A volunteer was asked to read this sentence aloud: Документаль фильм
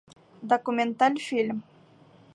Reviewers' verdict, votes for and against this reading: accepted, 3, 0